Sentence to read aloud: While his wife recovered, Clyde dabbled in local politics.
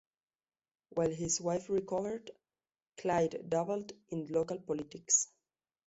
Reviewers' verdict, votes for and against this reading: accepted, 2, 0